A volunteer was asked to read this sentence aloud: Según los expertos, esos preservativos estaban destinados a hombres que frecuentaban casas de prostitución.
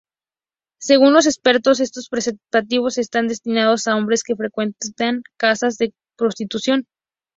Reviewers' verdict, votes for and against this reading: accepted, 2, 0